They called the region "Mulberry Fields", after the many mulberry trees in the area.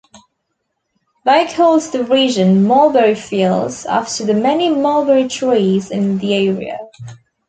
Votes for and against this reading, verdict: 2, 0, accepted